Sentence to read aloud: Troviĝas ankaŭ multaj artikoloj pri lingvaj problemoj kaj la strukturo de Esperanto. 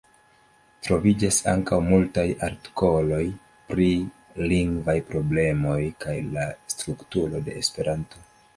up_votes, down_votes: 2, 0